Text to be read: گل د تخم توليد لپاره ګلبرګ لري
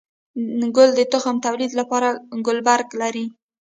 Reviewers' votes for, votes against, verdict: 1, 2, rejected